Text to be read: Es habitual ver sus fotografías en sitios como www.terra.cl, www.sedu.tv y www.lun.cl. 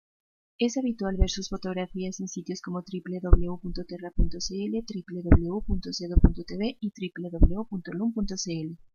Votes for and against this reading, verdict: 2, 0, accepted